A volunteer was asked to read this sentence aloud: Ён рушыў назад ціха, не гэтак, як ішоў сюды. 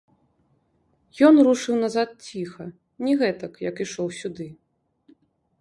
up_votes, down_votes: 0, 2